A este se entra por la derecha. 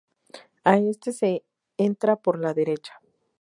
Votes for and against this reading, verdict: 4, 0, accepted